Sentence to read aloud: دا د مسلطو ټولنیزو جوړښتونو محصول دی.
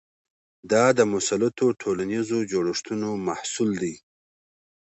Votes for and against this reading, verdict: 2, 0, accepted